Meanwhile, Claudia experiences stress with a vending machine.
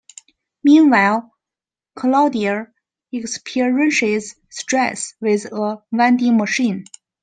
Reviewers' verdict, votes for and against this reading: rejected, 2, 3